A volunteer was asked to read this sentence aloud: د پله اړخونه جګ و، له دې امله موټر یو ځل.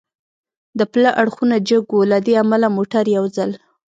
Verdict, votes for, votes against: accepted, 2, 0